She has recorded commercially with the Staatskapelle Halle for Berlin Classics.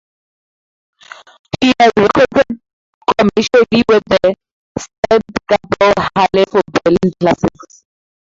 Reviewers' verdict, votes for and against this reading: rejected, 0, 2